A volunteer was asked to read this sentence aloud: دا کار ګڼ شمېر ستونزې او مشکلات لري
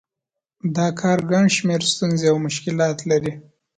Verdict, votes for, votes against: accepted, 2, 0